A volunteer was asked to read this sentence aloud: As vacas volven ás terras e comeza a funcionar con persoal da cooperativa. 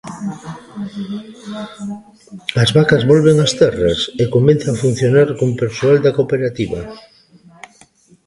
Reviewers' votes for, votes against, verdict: 2, 1, accepted